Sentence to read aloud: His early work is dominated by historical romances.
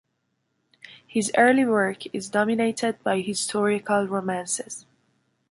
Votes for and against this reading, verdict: 2, 0, accepted